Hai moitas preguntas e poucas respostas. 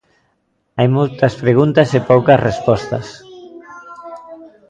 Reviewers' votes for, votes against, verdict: 0, 2, rejected